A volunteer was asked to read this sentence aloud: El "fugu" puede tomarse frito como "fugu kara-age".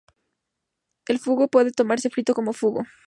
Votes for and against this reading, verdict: 0, 2, rejected